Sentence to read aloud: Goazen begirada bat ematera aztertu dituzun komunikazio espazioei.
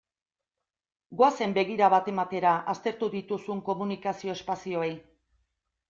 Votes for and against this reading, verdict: 1, 2, rejected